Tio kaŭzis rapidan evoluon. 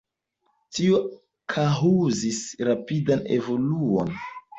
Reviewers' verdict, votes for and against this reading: rejected, 1, 2